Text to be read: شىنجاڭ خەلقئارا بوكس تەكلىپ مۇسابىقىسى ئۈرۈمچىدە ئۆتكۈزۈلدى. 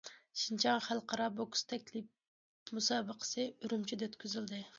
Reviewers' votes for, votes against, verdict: 2, 0, accepted